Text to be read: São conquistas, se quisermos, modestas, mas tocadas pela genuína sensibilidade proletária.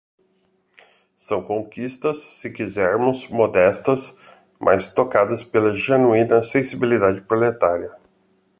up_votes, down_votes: 2, 0